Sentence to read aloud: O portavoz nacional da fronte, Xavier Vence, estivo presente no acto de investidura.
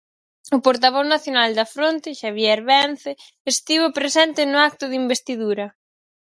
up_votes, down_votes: 4, 0